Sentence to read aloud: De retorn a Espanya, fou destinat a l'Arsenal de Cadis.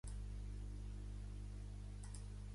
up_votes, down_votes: 0, 2